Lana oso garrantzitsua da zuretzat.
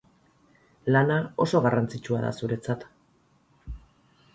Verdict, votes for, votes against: rejected, 2, 2